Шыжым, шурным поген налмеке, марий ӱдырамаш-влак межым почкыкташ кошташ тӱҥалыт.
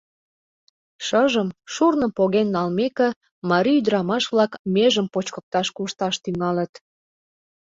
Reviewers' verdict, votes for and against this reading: accepted, 2, 0